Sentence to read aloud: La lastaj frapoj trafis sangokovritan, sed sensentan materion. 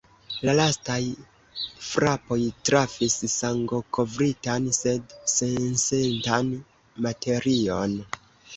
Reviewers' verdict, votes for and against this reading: accepted, 2, 0